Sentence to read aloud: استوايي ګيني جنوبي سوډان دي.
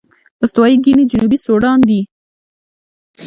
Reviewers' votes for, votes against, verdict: 1, 2, rejected